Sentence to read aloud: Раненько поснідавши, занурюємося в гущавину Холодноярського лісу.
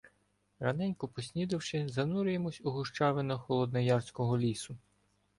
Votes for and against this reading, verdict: 1, 2, rejected